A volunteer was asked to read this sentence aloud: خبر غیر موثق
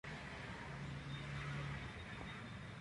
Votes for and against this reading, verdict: 0, 2, rejected